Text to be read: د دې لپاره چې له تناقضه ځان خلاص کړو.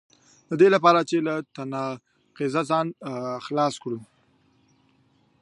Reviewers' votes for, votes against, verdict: 2, 0, accepted